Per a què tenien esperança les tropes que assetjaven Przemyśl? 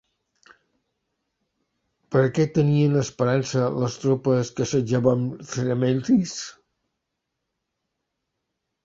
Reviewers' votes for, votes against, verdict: 0, 2, rejected